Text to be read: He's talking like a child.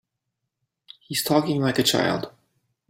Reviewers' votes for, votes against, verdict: 3, 0, accepted